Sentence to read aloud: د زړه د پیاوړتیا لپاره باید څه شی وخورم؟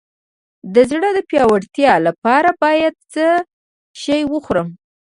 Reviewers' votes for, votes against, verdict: 2, 0, accepted